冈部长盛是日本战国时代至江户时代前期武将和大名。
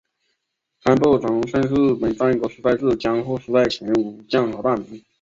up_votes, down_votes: 2, 3